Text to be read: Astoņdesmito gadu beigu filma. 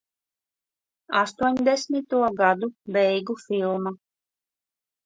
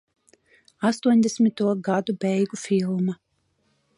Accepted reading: second